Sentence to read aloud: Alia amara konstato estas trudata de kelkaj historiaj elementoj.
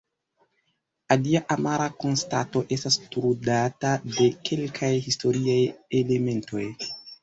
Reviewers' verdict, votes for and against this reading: accepted, 2, 1